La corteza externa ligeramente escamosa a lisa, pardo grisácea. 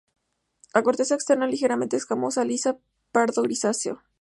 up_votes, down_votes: 2, 0